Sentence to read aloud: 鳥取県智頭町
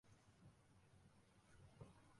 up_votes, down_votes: 1, 2